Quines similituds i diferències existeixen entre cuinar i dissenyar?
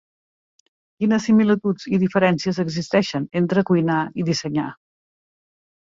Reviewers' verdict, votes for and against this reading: accepted, 3, 0